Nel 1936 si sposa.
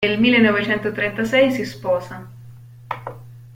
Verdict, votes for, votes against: rejected, 0, 2